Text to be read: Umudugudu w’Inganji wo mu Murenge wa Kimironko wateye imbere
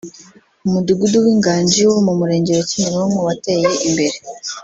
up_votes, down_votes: 1, 2